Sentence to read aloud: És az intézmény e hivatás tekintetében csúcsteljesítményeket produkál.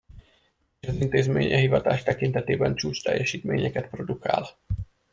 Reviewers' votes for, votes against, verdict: 0, 2, rejected